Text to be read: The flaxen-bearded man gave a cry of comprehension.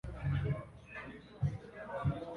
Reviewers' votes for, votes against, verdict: 0, 2, rejected